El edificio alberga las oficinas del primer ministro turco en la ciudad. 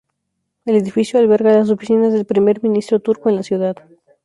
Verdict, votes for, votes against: accepted, 2, 0